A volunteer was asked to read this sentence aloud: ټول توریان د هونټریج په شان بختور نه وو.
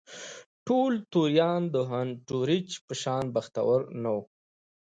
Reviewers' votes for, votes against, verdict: 2, 0, accepted